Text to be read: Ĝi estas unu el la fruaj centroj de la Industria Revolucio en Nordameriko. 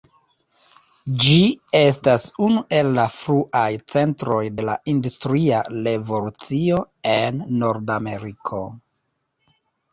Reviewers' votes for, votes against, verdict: 0, 3, rejected